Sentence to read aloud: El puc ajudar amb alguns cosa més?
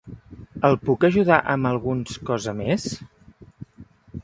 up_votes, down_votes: 2, 0